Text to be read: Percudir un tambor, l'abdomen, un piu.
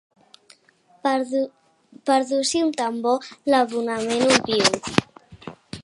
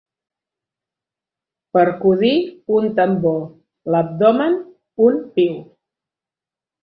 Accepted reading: second